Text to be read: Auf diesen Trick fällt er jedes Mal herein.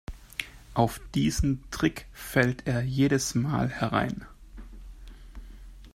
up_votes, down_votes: 2, 0